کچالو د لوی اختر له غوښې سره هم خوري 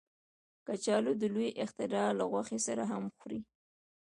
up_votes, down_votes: 1, 2